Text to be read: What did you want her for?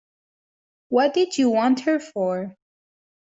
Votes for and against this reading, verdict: 2, 0, accepted